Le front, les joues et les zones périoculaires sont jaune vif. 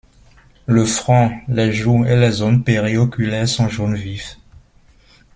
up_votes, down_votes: 2, 0